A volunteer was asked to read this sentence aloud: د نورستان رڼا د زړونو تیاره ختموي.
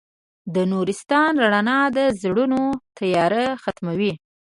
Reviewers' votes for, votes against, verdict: 2, 0, accepted